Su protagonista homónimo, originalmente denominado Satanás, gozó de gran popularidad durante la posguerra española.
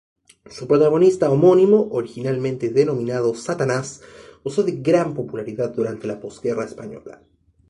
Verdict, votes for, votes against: accepted, 2, 0